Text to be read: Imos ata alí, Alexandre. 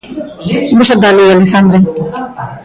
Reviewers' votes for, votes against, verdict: 0, 2, rejected